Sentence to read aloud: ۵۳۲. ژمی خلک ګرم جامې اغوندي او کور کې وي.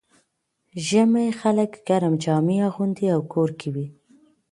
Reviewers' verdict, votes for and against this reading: rejected, 0, 2